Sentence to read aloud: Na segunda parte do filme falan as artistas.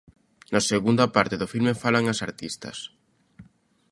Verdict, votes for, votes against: accepted, 2, 0